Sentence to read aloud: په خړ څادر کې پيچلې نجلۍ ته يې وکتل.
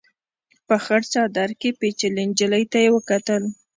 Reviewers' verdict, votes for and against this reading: accepted, 2, 0